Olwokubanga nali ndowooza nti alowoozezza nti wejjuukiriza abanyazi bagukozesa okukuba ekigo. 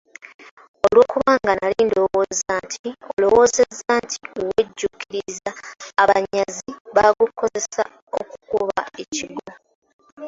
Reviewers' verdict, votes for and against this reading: rejected, 0, 2